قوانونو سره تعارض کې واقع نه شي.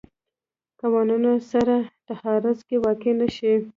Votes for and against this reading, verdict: 2, 0, accepted